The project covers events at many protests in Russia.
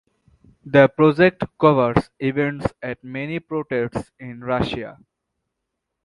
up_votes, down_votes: 0, 2